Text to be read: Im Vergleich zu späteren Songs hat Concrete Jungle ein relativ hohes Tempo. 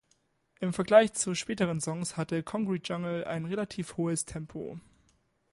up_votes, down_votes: 1, 2